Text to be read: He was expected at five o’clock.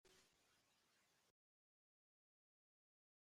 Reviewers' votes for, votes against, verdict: 0, 2, rejected